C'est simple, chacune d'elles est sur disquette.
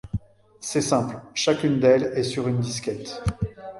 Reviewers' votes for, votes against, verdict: 1, 2, rejected